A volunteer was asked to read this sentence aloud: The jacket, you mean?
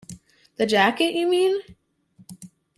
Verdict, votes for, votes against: accepted, 2, 0